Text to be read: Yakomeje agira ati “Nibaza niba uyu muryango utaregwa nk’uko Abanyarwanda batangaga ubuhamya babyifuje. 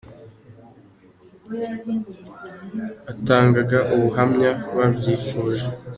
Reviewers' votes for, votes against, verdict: 0, 2, rejected